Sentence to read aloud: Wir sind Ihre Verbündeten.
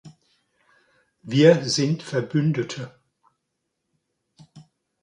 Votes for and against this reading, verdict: 0, 2, rejected